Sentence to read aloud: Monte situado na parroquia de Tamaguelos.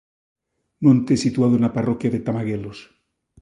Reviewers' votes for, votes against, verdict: 2, 0, accepted